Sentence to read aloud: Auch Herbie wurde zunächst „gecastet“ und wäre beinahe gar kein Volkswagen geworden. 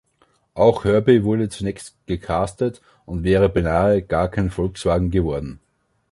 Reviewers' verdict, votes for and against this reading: accepted, 2, 1